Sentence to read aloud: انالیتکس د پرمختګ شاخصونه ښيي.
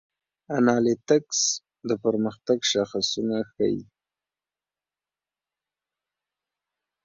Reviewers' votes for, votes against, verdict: 2, 0, accepted